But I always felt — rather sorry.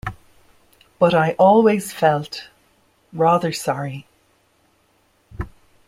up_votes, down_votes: 2, 0